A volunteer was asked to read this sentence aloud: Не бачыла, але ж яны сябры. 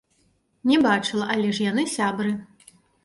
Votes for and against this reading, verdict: 2, 1, accepted